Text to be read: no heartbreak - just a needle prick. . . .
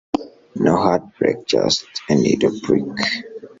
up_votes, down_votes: 1, 4